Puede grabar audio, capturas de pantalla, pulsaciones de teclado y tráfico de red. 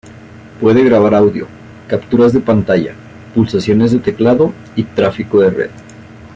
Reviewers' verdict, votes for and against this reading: accepted, 2, 0